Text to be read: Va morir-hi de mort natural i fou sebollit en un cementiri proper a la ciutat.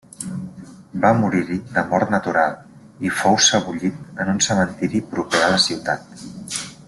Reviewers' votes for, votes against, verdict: 0, 2, rejected